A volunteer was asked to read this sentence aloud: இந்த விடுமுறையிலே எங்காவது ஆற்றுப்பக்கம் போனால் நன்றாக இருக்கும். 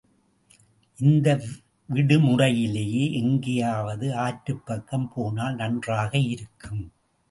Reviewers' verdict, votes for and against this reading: rejected, 0, 2